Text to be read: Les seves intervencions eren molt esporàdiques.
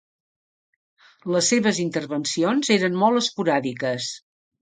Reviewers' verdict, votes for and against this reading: accepted, 2, 0